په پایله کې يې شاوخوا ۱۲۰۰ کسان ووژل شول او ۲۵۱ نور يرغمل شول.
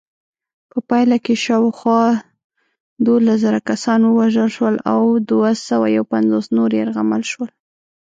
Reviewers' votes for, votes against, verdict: 0, 2, rejected